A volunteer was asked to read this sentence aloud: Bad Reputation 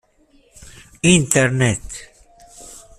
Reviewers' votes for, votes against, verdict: 0, 2, rejected